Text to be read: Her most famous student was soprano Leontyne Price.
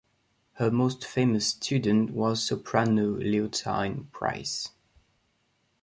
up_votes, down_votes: 1, 2